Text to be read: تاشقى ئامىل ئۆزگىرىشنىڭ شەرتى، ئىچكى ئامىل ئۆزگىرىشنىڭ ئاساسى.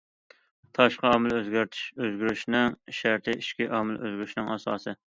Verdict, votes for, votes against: rejected, 0, 2